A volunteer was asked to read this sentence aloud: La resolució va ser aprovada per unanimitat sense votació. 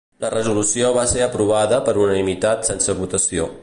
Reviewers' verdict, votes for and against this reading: accepted, 2, 0